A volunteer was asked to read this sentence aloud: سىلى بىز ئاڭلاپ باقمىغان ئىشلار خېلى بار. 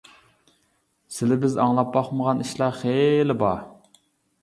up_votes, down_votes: 2, 0